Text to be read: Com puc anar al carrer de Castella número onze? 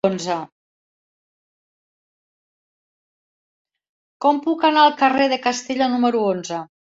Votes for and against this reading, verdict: 2, 0, accepted